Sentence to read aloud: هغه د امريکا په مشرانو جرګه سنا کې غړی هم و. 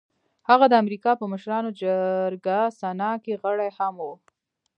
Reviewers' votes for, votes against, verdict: 1, 2, rejected